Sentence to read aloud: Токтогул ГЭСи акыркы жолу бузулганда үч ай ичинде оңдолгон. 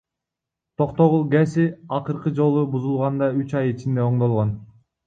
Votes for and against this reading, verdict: 0, 2, rejected